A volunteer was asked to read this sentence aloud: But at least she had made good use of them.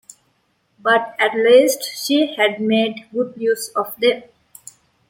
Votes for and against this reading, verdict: 2, 1, accepted